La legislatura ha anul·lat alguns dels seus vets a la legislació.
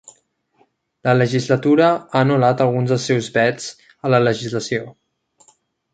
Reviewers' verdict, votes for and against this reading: accepted, 3, 0